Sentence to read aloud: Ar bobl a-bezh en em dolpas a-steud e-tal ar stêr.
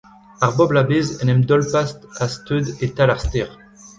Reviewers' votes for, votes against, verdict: 0, 2, rejected